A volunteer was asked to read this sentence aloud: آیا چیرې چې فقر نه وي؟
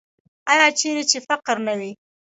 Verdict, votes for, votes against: rejected, 1, 2